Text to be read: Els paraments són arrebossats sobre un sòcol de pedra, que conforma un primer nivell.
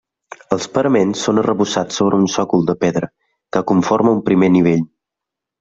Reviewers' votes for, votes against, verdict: 3, 0, accepted